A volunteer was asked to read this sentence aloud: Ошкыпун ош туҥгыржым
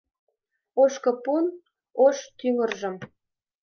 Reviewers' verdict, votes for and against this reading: rejected, 1, 2